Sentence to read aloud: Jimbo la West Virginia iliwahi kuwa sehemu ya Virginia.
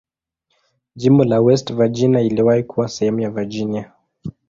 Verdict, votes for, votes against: rejected, 0, 2